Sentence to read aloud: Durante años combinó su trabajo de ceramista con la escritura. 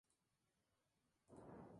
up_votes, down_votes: 0, 4